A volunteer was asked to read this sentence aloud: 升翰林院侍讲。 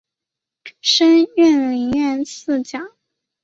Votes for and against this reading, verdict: 0, 2, rejected